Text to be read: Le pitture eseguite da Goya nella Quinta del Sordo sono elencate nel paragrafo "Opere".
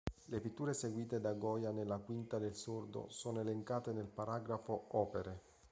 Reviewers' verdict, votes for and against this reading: accepted, 2, 0